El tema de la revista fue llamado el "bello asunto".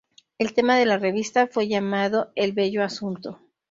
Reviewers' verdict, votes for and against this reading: accepted, 2, 0